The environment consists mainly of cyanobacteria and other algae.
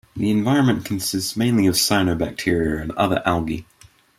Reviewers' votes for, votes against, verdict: 2, 0, accepted